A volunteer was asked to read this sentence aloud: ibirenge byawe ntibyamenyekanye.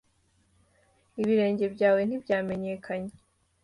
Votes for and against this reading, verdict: 2, 0, accepted